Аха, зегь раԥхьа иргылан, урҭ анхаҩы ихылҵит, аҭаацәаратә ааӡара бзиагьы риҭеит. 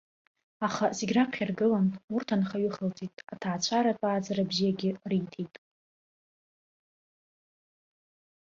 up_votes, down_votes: 2, 0